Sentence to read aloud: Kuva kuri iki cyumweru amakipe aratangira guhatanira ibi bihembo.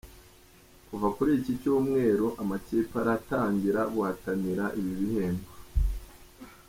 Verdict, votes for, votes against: accepted, 2, 0